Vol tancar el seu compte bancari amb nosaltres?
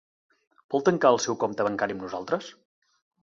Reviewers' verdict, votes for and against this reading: accepted, 2, 0